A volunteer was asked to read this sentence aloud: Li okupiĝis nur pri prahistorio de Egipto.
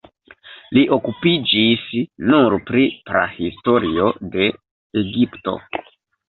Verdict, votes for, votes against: rejected, 1, 2